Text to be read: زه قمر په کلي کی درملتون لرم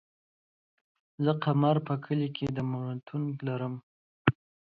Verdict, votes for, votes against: accepted, 2, 1